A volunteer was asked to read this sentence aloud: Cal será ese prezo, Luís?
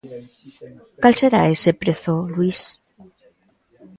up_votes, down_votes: 1, 2